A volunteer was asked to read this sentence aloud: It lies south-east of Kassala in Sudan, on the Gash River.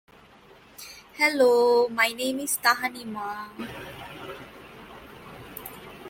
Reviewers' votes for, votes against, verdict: 0, 2, rejected